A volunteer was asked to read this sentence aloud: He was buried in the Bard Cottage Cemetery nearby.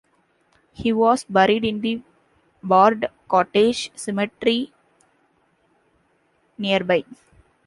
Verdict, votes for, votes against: accepted, 2, 0